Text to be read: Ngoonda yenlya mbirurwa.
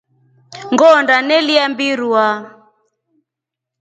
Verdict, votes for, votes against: accepted, 2, 1